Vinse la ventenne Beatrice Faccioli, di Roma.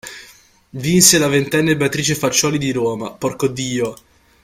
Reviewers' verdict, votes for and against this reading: rejected, 0, 2